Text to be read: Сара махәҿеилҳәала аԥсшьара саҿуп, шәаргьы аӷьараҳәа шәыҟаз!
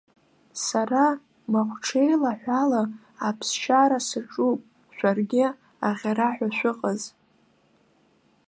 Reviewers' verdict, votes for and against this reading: rejected, 0, 2